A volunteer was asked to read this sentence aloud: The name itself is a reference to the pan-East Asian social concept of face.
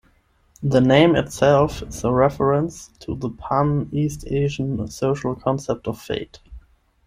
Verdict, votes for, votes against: rejected, 5, 10